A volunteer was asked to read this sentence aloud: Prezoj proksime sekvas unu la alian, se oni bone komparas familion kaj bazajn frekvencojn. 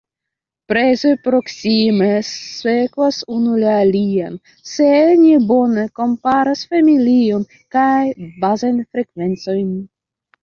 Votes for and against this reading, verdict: 1, 2, rejected